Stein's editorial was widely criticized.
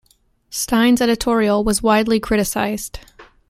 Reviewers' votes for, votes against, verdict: 2, 0, accepted